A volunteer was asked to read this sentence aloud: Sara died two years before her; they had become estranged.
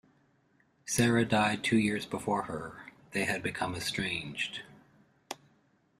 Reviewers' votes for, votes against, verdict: 2, 0, accepted